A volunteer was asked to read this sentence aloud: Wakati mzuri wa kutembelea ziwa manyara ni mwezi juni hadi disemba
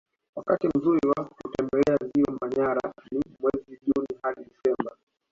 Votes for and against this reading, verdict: 3, 0, accepted